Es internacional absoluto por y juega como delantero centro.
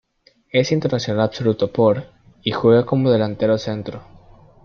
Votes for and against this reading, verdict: 1, 2, rejected